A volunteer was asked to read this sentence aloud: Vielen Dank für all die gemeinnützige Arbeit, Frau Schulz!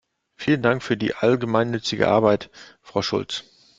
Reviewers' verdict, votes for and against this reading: rejected, 0, 2